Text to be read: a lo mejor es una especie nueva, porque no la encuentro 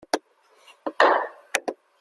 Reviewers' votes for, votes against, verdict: 0, 2, rejected